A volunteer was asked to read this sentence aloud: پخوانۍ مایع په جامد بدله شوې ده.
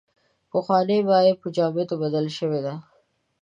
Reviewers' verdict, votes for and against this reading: rejected, 1, 2